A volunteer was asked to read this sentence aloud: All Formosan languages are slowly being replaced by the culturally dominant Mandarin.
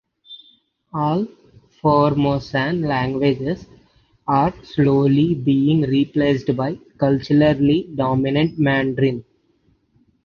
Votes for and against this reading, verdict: 3, 1, accepted